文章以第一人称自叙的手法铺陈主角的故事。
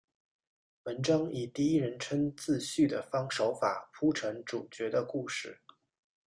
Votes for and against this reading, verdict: 1, 2, rejected